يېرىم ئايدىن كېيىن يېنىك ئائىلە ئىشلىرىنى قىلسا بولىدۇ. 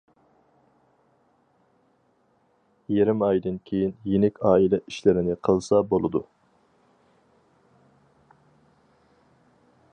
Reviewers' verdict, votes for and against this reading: accepted, 4, 0